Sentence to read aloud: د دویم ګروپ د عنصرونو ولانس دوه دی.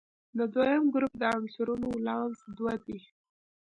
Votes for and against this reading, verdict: 2, 0, accepted